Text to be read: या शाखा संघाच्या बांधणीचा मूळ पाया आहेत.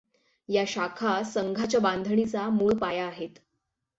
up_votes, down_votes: 6, 3